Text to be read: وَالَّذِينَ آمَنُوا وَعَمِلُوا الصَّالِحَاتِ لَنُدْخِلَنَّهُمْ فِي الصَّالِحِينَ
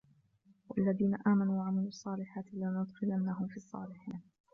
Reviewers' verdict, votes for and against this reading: rejected, 1, 3